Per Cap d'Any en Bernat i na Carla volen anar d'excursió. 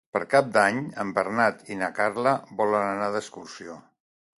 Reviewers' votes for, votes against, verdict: 2, 0, accepted